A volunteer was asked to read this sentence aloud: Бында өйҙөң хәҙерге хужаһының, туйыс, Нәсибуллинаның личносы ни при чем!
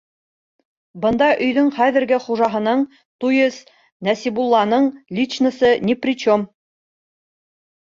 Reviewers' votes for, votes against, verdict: 1, 2, rejected